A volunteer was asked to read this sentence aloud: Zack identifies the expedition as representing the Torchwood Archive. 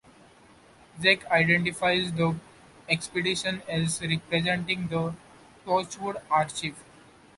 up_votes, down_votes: 2, 0